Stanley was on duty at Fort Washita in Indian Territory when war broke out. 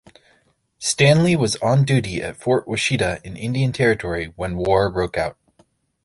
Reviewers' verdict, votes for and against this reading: accepted, 2, 0